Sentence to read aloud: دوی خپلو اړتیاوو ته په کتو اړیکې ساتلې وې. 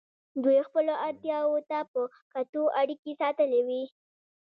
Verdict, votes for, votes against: rejected, 1, 2